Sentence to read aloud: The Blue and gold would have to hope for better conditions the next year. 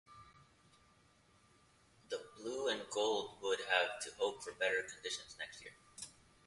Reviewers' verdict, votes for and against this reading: rejected, 0, 2